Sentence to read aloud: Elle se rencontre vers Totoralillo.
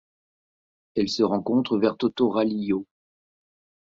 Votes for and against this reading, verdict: 2, 0, accepted